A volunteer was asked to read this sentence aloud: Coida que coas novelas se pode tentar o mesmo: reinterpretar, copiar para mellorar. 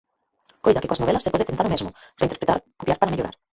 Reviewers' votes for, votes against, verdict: 2, 4, rejected